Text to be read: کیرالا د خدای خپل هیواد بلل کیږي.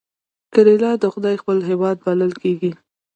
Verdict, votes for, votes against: accepted, 2, 0